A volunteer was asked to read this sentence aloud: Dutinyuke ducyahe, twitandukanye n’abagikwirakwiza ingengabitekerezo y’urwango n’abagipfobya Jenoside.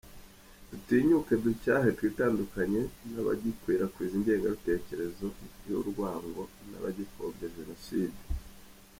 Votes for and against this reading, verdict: 2, 0, accepted